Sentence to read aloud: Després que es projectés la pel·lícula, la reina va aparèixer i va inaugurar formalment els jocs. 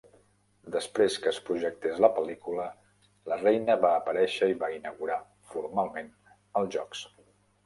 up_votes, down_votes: 3, 0